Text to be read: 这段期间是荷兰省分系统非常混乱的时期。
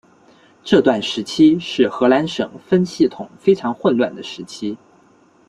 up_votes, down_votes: 0, 2